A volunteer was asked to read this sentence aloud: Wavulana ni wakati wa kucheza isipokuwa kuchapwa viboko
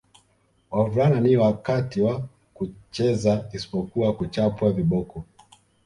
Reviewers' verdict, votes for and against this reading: rejected, 0, 2